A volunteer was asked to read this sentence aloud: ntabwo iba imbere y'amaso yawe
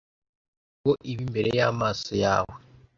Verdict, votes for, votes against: rejected, 1, 2